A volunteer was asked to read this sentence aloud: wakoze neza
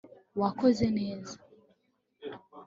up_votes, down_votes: 3, 0